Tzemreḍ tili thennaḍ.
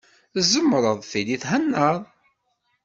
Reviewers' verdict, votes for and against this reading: accepted, 2, 0